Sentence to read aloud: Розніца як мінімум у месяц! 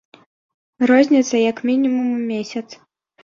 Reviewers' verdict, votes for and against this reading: accepted, 2, 0